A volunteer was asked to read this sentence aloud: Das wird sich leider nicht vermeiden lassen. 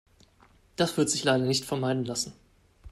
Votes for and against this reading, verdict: 2, 0, accepted